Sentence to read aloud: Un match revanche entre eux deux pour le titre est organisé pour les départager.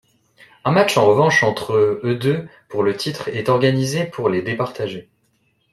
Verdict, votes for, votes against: rejected, 0, 2